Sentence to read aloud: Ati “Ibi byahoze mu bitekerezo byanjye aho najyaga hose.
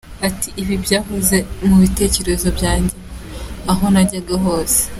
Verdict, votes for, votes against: accepted, 2, 0